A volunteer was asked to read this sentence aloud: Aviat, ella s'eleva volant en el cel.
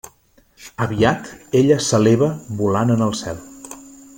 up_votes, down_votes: 3, 0